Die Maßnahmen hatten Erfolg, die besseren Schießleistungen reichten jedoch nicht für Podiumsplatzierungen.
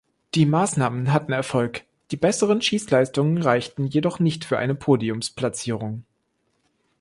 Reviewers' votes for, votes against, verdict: 0, 2, rejected